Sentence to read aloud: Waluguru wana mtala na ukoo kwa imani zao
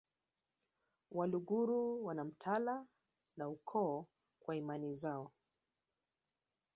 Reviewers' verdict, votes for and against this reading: accepted, 2, 1